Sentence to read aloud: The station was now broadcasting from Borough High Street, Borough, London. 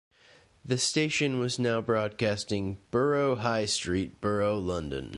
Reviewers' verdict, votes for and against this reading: rejected, 0, 2